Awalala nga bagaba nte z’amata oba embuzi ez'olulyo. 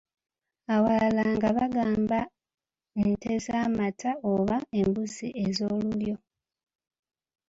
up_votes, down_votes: 0, 2